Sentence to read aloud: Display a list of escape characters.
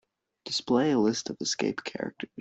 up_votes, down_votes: 1, 2